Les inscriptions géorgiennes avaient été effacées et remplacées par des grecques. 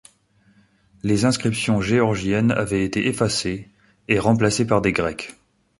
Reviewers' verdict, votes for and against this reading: accepted, 2, 0